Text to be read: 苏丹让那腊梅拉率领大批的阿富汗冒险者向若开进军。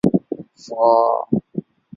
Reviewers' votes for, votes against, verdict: 0, 3, rejected